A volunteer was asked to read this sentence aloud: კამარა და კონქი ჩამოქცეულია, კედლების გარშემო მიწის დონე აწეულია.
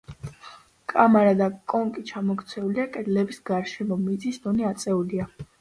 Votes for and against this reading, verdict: 2, 0, accepted